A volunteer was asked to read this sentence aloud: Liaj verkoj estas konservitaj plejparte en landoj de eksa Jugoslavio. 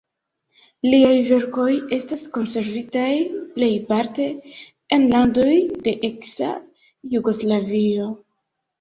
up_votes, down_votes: 2, 0